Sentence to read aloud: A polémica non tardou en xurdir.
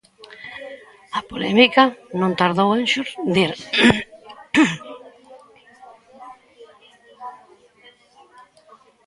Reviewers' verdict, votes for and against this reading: rejected, 0, 2